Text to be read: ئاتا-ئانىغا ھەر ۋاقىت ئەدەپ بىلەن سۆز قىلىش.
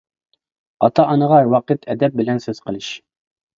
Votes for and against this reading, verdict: 0, 2, rejected